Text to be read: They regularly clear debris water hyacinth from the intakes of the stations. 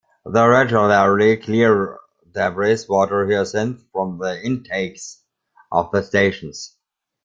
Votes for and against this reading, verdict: 0, 2, rejected